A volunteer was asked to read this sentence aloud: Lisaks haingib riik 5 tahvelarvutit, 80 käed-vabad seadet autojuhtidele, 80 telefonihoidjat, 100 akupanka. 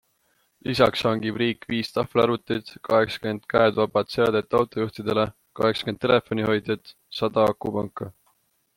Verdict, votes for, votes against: rejected, 0, 2